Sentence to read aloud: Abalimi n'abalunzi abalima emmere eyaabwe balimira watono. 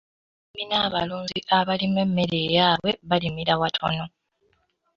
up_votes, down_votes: 0, 2